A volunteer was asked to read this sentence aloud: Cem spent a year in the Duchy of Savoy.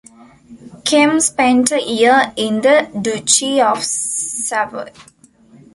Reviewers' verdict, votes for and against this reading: accepted, 2, 0